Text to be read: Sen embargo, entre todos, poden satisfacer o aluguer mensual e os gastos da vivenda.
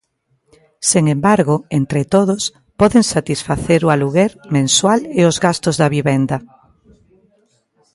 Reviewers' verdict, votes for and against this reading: accepted, 2, 0